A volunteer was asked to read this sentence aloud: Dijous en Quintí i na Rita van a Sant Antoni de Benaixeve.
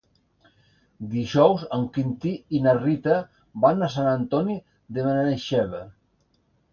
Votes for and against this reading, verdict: 2, 0, accepted